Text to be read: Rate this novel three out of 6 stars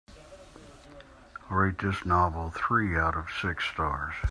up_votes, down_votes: 0, 2